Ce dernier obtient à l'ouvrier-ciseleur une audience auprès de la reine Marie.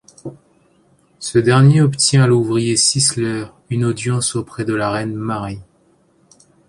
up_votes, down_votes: 0, 2